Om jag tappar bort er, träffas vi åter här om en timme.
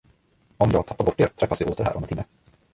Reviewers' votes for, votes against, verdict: 0, 2, rejected